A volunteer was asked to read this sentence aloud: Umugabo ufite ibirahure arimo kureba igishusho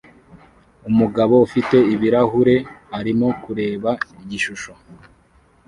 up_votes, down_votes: 2, 0